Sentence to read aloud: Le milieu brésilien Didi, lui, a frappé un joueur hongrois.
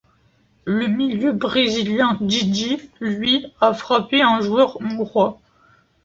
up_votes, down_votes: 2, 1